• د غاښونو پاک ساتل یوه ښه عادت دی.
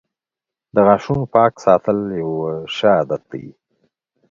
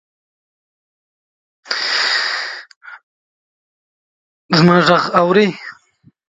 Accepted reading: first